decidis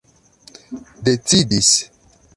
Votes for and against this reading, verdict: 2, 0, accepted